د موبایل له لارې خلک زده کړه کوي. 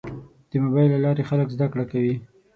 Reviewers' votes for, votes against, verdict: 6, 0, accepted